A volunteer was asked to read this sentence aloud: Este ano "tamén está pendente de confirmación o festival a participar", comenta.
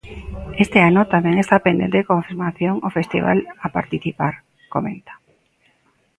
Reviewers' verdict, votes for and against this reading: accepted, 2, 0